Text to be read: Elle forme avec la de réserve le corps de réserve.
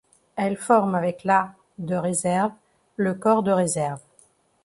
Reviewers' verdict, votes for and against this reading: accepted, 2, 0